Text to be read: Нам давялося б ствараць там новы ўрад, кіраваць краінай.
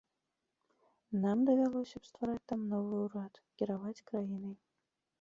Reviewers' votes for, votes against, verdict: 2, 0, accepted